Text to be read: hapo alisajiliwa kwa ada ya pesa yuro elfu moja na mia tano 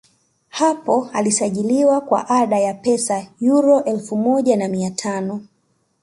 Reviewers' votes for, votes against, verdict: 2, 0, accepted